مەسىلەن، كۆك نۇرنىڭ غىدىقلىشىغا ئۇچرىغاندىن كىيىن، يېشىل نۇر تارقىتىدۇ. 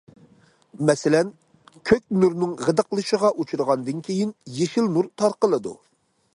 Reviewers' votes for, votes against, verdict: 1, 2, rejected